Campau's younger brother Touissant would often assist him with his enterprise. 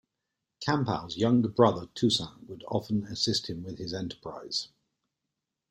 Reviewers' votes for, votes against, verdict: 2, 0, accepted